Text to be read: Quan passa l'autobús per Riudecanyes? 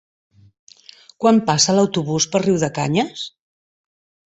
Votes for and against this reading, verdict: 2, 0, accepted